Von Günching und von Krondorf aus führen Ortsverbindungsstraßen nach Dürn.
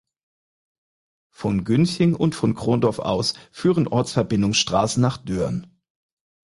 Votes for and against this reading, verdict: 4, 0, accepted